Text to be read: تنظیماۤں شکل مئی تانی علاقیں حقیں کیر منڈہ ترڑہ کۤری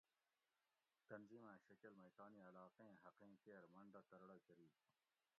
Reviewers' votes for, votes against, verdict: 1, 2, rejected